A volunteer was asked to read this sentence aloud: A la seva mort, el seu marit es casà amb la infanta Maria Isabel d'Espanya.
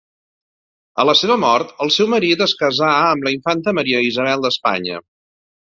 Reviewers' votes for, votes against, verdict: 2, 0, accepted